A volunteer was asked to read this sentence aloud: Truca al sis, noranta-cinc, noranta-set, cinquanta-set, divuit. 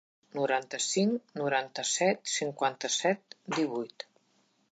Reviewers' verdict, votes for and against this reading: rejected, 0, 2